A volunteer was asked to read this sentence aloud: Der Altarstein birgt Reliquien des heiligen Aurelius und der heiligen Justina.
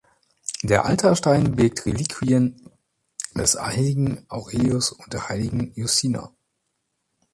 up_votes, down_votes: 1, 2